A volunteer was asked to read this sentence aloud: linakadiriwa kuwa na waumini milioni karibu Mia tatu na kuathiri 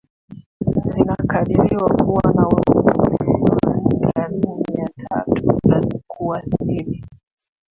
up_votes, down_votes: 1, 2